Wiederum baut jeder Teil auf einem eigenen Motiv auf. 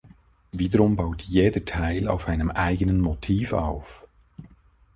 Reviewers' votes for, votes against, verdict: 2, 0, accepted